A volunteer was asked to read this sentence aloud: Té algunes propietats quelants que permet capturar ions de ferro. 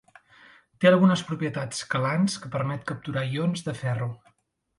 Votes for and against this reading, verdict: 3, 0, accepted